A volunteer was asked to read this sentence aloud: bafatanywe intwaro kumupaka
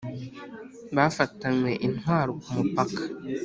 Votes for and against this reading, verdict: 3, 0, accepted